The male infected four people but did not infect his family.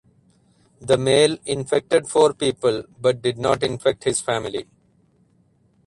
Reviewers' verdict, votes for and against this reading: rejected, 2, 2